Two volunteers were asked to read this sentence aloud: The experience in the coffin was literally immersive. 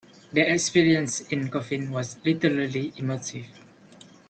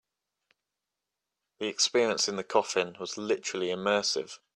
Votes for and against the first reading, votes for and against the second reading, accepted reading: 0, 2, 3, 0, second